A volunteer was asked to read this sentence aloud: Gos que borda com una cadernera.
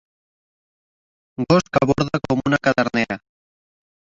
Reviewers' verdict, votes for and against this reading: accepted, 2, 1